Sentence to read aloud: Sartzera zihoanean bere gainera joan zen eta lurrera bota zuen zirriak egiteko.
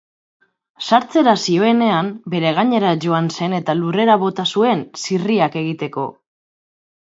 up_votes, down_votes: 0, 2